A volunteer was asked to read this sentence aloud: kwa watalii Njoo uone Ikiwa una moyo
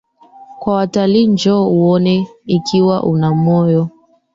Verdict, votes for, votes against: accepted, 3, 0